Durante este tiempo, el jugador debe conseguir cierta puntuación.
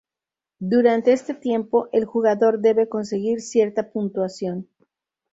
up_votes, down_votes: 2, 2